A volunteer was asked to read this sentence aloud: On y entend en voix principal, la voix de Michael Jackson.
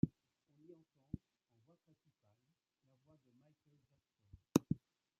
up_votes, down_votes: 0, 2